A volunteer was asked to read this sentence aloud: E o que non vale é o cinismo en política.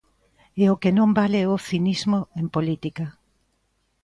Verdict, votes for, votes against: accepted, 2, 0